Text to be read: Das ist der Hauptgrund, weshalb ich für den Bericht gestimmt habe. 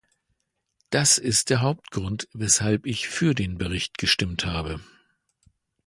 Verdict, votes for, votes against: accepted, 2, 0